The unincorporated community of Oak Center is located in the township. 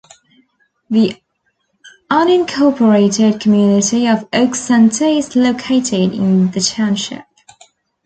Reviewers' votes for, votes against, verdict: 2, 1, accepted